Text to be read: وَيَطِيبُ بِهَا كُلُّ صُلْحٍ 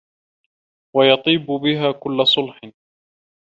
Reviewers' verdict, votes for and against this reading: rejected, 0, 2